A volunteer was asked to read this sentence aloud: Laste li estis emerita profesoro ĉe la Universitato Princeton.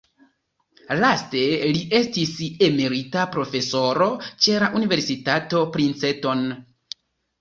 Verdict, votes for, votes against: accepted, 2, 0